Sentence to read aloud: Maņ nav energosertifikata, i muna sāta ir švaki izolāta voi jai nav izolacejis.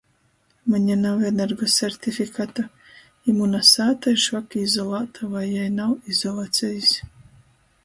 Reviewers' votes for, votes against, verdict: 0, 2, rejected